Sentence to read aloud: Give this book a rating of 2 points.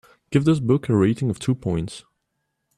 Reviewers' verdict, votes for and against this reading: rejected, 0, 2